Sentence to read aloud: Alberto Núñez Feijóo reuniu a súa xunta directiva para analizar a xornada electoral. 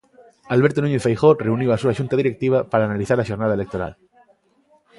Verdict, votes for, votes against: accepted, 2, 0